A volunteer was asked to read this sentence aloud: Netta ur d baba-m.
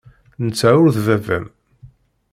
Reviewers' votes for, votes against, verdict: 2, 0, accepted